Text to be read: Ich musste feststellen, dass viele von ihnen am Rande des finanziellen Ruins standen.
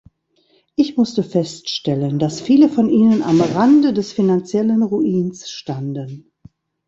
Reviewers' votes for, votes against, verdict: 1, 2, rejected